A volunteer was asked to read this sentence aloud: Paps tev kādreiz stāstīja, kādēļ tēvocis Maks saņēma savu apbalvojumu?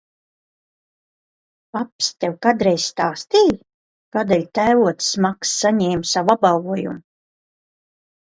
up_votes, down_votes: 2, 1